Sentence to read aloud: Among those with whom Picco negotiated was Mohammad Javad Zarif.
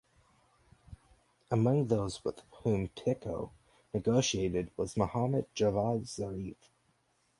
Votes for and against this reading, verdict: 0, 4, rejected